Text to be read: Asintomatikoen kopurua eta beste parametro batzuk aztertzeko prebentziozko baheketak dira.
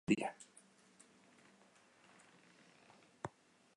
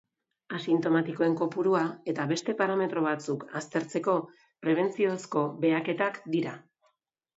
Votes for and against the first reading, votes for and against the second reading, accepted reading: 0, 2, 2, 0, second